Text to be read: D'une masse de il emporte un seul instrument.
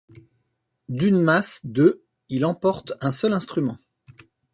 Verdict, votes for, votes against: accepted, 2, 0